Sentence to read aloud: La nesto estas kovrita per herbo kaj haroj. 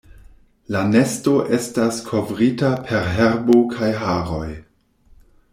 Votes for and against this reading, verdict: 2, 0, accepted